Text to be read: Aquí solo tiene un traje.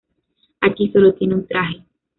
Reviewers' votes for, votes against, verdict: 2, 0, accepted